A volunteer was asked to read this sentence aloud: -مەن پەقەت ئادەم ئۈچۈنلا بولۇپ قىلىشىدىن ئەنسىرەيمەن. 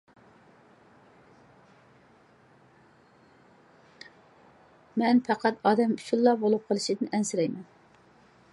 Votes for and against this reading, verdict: 0, 2, rejected